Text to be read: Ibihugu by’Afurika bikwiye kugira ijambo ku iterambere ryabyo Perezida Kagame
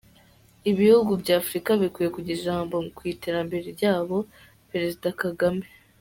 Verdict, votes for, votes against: rejected, 0, 2